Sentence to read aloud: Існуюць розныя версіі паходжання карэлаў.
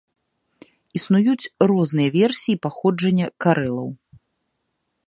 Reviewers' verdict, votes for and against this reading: accepted, 2, 0